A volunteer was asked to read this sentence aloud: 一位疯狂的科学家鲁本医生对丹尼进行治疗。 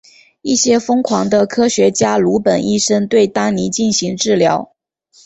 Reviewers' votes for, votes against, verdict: 0, 2, rejected